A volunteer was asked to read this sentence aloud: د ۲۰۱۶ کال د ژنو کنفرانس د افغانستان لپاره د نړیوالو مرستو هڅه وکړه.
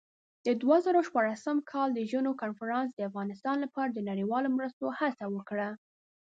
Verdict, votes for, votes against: rejected, 0, 2